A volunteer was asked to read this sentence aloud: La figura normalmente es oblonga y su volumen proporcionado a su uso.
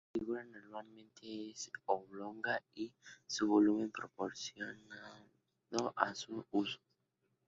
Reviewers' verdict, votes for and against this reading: rejected, 0, 2